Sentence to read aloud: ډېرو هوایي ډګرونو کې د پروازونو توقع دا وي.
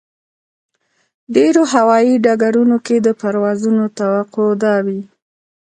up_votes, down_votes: 2, 0